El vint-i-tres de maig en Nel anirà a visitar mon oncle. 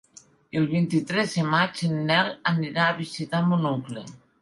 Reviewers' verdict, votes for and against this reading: accepted, 4, 1